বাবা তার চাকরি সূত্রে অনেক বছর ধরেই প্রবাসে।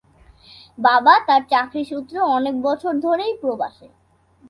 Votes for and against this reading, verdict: 2, 0, accepted